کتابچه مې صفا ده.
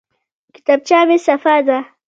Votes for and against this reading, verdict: 2, 1, accepted